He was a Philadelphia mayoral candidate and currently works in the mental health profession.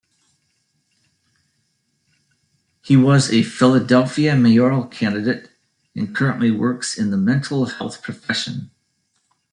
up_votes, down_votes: 0, 2